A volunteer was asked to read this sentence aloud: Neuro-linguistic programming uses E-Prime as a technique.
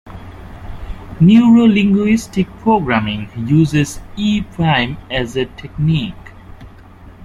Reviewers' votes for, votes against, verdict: 2, 0, accepted